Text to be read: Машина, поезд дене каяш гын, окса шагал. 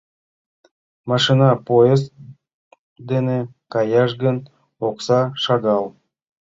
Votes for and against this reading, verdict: 2, 0, accepted